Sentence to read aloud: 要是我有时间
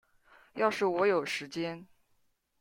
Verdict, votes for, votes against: rejected, 0, 2